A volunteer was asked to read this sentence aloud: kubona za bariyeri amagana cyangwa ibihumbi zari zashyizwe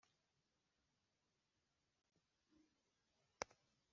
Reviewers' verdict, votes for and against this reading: rejected, 0, 2